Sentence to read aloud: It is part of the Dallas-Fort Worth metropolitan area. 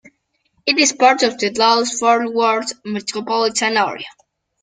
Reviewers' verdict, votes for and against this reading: accepted, 2, 0